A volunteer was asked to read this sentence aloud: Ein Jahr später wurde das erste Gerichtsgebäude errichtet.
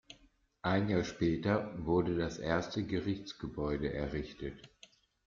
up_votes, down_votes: 2, 0